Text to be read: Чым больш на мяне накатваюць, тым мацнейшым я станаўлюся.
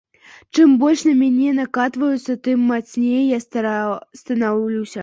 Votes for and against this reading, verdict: 0, 2, rejected